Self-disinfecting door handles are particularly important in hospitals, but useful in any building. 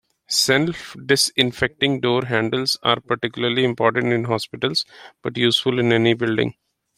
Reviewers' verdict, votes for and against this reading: accepted, 2, 0